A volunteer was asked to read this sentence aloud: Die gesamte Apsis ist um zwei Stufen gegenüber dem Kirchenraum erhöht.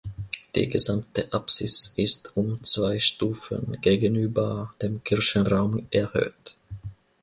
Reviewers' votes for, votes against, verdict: 2, 0, accepted